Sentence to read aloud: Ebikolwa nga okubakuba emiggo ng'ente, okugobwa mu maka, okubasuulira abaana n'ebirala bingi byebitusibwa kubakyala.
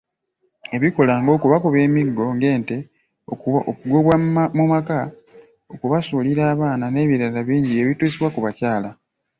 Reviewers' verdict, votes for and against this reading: accepted, 2, 1